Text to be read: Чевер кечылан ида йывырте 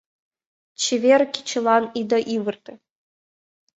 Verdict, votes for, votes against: rejected, 0, 2